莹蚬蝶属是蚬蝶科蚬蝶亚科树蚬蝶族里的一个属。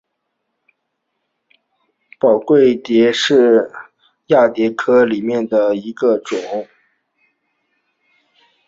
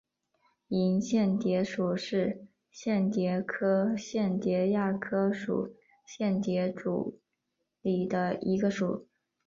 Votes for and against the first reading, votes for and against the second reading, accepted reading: 1, 4, 2, 0, second